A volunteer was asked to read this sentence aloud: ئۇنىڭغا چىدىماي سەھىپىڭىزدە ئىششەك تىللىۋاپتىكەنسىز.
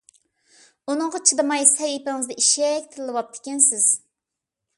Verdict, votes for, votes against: accepted, 2, 0